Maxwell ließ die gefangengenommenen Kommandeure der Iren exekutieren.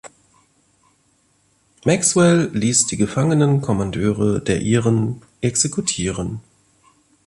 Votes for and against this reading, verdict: 0, 2, rejected